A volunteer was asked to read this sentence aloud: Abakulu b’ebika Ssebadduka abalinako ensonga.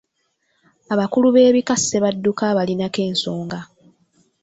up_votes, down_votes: 2, 1